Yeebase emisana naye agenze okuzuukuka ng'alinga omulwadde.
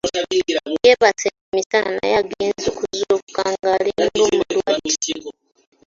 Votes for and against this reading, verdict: 0, 3, rejected